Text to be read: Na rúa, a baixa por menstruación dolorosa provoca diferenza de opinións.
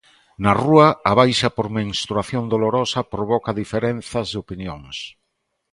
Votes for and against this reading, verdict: 1, 2, rejected